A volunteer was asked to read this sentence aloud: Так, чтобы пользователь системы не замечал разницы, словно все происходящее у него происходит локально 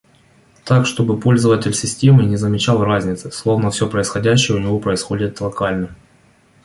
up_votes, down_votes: 2, 0